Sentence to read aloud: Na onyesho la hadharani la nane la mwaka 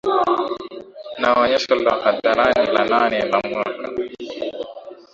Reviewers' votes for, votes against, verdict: 6, 1, accepted